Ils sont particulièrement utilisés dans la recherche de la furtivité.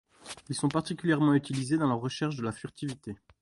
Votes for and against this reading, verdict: 2, 0, accepted